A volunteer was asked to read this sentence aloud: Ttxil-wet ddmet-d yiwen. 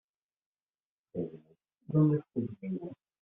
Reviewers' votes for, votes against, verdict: 1, 2, rejected